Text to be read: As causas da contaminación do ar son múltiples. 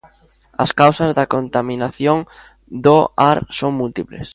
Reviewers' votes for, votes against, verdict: 2, 0, accepted